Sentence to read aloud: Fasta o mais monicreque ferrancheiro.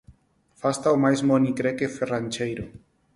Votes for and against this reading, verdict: 4, 0, accepted